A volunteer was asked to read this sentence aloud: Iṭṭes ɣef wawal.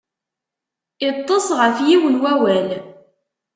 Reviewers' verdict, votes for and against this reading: rejected, 0, 2